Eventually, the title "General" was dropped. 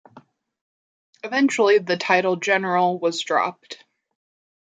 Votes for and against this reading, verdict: 2, 0, accepted